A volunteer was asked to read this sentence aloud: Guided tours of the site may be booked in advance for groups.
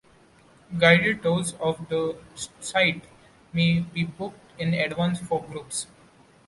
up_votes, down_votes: 1, 2